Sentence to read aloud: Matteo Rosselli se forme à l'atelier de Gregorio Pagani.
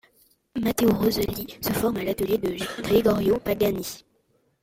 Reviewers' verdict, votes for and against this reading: accepted, 2, 0